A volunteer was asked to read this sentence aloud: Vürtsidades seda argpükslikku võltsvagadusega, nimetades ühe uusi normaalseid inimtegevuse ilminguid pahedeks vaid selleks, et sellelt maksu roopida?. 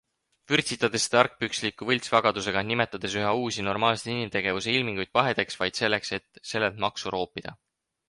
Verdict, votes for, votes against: accepted, 4, 0